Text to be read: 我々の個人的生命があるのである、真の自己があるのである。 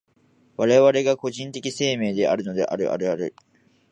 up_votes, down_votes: 0, 2